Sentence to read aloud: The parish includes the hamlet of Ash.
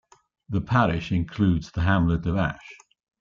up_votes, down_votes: 2, 0